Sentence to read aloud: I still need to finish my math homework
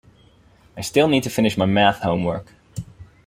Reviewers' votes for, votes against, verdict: 4, 2, accepted